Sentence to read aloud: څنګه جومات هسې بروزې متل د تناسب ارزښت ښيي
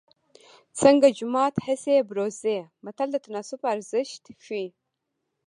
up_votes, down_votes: 2, 0